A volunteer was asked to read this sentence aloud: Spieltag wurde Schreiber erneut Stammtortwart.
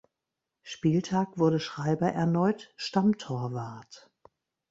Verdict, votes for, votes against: accepted, 2, 0